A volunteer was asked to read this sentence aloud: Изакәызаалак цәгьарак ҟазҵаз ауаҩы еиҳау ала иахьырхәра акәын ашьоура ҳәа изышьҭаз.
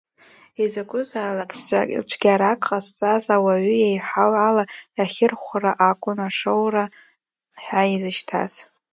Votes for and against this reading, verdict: 0, 2, rejected